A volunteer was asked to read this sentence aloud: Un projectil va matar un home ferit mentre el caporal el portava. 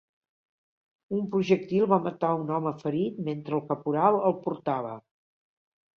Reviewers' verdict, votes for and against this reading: accepted, 2, 0